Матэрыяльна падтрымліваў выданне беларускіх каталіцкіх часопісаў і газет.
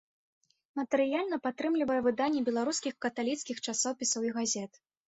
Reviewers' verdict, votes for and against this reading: rejected, 0, 2